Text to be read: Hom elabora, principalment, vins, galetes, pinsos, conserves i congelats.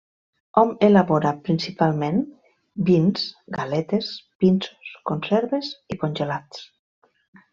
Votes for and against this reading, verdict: 3, 0, accepted